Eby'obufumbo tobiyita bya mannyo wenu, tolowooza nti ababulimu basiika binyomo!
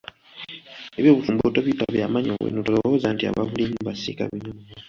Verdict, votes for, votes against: rejected, 0, 2